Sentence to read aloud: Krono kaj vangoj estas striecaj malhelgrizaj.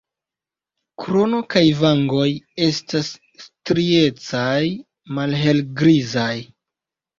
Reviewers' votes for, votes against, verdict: 1, 2, rejected